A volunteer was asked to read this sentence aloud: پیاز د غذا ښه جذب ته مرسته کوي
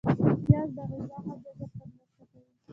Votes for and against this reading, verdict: 1, 2, rejected